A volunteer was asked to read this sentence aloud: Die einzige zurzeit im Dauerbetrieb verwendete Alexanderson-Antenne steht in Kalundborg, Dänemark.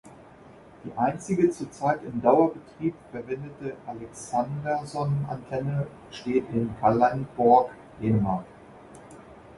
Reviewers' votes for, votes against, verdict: 0, 2, rejected